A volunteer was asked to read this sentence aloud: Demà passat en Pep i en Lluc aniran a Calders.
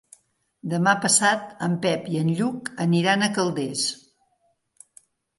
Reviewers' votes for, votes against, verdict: 3, 0, accepted